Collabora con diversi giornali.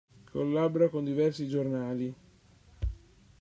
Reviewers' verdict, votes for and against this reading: rejected, 1, 2